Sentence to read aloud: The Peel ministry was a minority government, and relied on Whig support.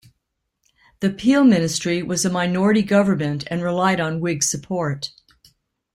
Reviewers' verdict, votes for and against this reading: accepted, 2, 0